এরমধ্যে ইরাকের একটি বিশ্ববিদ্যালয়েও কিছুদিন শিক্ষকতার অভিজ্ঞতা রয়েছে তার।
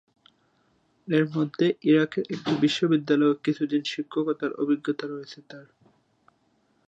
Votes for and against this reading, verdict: 1, 3, rejected